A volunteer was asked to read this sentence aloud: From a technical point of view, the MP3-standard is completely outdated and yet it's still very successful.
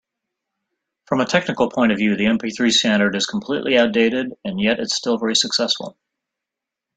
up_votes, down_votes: 0, 2